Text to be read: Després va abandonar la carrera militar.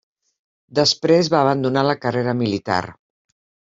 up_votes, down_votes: 3, 0